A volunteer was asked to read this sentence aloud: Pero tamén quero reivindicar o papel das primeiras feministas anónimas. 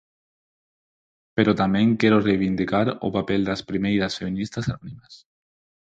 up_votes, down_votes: 4, 0